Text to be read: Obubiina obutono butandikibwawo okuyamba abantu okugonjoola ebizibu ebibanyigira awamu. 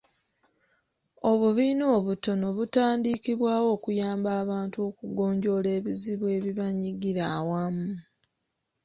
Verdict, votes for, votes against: accepted, 2, 0